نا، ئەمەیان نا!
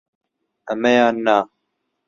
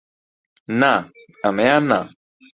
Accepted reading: second